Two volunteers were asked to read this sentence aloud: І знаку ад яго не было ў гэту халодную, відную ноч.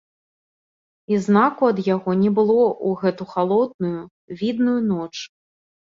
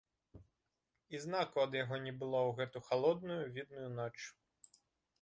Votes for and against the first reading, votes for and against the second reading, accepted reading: 1, 2, 2, 1, second